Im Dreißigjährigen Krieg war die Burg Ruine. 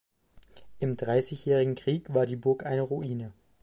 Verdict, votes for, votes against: rejected, 1, 2